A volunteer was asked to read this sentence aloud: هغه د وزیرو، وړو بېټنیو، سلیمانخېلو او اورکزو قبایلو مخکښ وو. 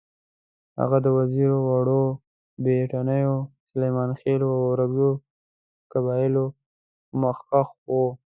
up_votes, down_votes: 1, 2